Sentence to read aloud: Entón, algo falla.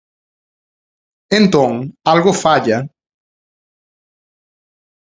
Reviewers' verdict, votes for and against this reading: accepted, 2, 0